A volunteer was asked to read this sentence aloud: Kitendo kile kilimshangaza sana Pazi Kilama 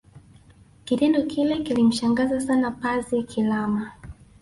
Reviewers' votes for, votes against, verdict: 1, 2, rejected